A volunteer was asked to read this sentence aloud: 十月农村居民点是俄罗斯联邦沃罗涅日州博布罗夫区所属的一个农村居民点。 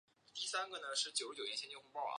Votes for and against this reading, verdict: 0, 2, rejected